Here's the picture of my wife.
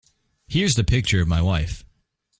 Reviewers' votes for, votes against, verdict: 2, 0, accepted